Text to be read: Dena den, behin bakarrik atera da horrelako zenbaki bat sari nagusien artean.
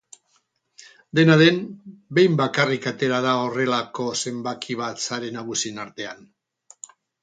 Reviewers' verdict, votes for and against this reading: accepted, 4, 0